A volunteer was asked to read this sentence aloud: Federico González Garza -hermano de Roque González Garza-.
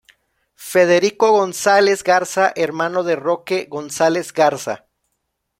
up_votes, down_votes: 2, 0